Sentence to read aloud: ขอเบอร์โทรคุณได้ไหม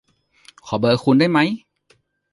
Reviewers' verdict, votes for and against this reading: rejected, 0, 2